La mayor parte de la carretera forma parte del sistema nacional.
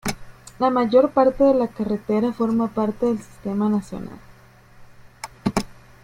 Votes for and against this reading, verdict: 0, 2, rejected